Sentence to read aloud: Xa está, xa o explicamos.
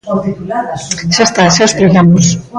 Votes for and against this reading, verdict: 0, 2, rejected